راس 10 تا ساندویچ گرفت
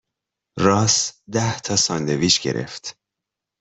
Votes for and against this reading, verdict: 0, 2, rejected